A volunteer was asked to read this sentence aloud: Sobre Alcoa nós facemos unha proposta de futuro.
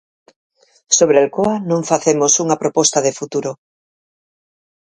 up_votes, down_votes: 0, 4